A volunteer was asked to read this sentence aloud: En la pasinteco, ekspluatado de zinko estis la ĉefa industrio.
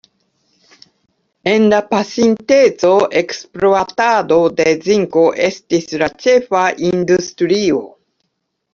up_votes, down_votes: 2, 0